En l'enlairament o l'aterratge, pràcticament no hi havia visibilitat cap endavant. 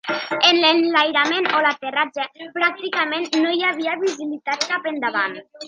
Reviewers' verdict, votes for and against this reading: rejected, 1, 2